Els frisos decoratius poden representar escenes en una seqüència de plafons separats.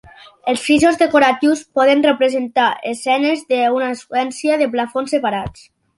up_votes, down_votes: 0, 2